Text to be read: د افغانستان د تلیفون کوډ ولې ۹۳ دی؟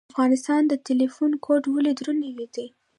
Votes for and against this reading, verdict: 0, 2, rejected